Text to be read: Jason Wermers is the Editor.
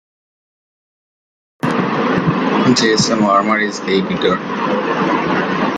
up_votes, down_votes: 0, 2